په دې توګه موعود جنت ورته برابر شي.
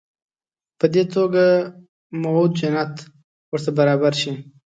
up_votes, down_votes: 2, 0